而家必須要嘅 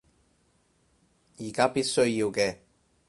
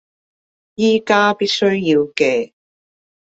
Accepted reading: first